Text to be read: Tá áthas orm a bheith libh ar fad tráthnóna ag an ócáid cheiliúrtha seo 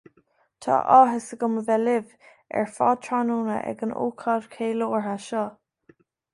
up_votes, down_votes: 1, 2